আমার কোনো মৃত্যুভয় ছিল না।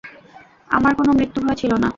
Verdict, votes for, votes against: accepted, 2, 0